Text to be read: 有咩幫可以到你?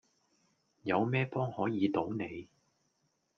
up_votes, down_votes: 1, 2